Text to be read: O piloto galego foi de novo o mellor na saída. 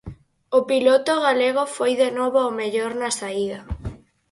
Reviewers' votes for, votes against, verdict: 4, 0, accepted